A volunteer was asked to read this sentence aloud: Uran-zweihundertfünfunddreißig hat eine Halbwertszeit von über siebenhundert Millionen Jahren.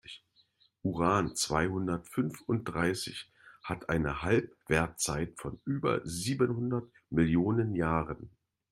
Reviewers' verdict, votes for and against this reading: accepted, 2, 0